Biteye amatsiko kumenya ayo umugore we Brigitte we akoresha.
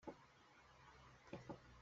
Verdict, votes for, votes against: rejected, 0, 2